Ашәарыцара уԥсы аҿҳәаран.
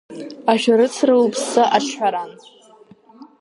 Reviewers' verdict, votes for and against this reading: accepted, 2, 1